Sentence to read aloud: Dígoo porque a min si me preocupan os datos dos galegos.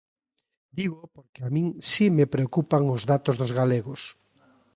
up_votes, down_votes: 3, 0